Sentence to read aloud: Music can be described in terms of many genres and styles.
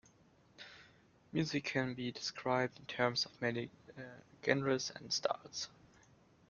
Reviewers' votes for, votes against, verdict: 1, 2, rejected